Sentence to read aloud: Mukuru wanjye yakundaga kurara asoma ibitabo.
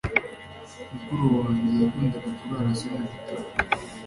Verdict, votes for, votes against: accepted, 2, 1